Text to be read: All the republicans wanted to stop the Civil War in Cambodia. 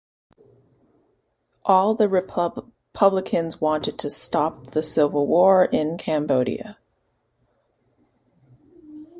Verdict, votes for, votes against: rejected, 0, 2